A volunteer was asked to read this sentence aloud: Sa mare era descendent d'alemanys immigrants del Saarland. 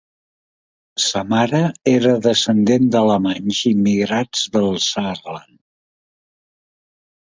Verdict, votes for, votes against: rejected, 0, 2